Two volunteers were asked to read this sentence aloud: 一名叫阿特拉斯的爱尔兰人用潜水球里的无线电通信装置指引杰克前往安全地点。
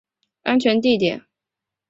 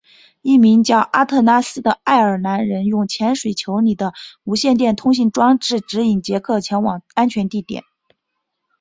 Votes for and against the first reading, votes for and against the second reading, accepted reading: 0, 3, 5, 0, second